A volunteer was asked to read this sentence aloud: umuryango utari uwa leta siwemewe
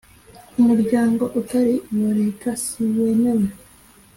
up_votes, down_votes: 2, 0